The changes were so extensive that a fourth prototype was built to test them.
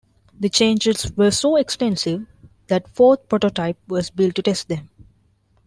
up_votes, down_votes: 0, 2